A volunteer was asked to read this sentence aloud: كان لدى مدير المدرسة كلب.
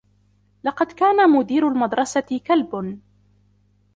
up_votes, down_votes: 0, 2